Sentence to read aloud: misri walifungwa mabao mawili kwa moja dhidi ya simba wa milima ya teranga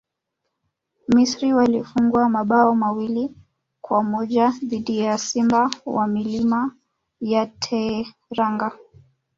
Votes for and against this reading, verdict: 2, 0, accepted